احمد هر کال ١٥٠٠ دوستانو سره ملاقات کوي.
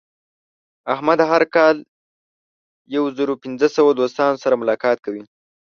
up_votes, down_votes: 0, 2